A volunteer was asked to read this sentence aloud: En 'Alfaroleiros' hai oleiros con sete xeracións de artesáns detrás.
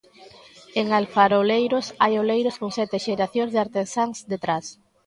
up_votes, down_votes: 4, 0